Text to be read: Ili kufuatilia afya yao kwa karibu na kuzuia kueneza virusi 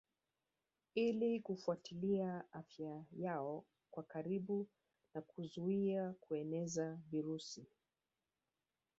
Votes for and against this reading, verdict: 2, 3, rejected